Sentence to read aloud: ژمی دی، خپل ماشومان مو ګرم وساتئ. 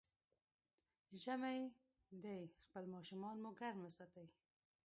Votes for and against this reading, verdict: 2, 1, accepted